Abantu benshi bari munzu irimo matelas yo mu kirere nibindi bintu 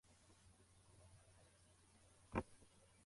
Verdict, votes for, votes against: rejected, 0, 2